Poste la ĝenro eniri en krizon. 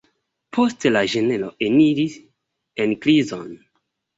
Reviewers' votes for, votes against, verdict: 0, 2, rejected